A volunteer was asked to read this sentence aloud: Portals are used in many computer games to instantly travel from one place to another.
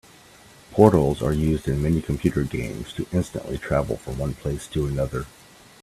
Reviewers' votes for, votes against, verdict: 2, 0, accepted